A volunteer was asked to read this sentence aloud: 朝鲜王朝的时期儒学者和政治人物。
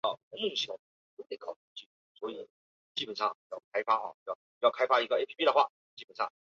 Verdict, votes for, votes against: rejected, 2, 6